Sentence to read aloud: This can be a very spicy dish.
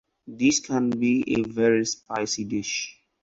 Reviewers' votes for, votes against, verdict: 4, 0, accepted